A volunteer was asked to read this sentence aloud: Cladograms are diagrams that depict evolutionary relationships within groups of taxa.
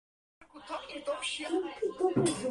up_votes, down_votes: 0, 4